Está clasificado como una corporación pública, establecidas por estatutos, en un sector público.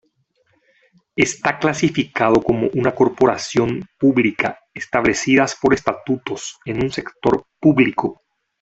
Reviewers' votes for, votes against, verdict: 2, 0, accepted